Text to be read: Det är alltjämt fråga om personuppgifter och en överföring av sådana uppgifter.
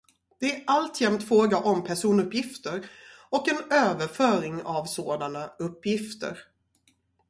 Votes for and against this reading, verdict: 2, 0, accepted